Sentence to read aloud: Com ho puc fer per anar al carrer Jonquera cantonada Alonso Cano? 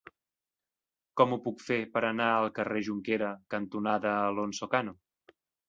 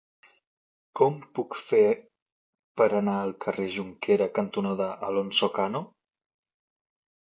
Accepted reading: first